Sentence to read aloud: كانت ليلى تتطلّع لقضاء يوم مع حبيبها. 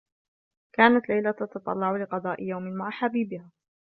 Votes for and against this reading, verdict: 2, 0, accepted